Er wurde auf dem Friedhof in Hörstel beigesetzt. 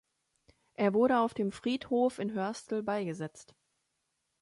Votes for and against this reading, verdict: 2, 0, accepted